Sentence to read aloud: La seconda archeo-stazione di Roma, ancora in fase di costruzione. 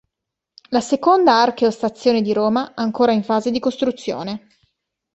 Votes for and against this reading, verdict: 2, 0, accepted